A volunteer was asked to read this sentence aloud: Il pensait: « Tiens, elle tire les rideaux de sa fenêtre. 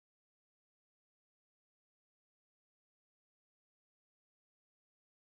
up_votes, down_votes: 1, 2